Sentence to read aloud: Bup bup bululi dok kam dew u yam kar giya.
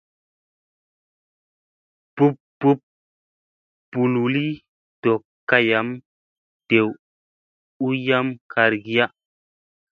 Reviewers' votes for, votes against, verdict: 2, 0, accepted